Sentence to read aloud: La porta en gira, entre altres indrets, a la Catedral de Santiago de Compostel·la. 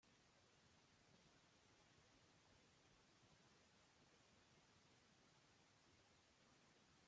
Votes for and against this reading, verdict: 0, 2, rejected